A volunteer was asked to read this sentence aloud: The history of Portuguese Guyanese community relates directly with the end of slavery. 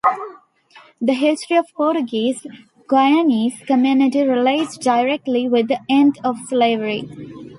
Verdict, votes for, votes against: accepted, 2, 0